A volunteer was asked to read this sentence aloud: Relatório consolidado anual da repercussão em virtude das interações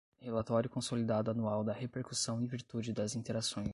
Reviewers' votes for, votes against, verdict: 0, 5, rejected